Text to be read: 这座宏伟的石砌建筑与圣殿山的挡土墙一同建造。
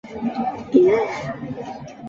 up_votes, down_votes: 0, 2